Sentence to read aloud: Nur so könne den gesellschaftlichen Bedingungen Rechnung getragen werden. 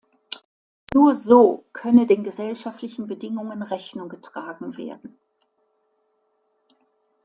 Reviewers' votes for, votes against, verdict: 2, 0, accepted